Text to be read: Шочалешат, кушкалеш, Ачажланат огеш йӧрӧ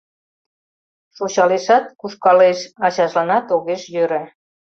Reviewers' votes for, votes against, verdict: 2, 0, accepted